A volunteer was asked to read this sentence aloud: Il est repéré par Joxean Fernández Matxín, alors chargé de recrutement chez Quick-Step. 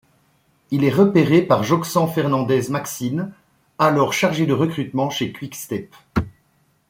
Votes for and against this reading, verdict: 1, 2, rejected